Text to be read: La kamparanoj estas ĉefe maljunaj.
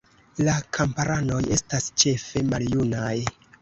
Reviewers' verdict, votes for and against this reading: accepted, 2, 0